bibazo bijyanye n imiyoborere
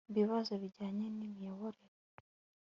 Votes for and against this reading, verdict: 2, 0, accepted